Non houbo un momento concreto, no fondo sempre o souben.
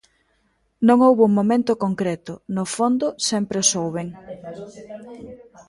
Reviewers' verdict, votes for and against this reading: rejected, 1, 2